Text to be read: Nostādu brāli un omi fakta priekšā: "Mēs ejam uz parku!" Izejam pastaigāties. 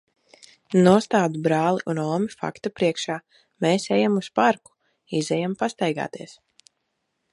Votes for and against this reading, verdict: 2, 0, accepted